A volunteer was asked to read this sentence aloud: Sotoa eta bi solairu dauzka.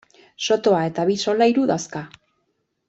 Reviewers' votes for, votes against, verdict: 1, 2, rejected